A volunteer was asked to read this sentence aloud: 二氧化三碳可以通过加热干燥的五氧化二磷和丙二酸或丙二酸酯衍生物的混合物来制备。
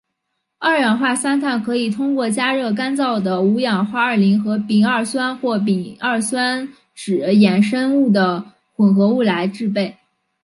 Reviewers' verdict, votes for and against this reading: rejected, 0, 2